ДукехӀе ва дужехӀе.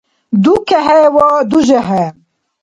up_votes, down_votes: 2, 0